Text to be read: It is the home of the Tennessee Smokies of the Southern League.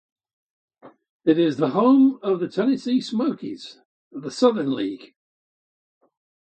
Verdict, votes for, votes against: accepted, 2, 0